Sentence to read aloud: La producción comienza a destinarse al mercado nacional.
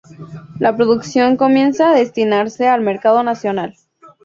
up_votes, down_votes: 2, 0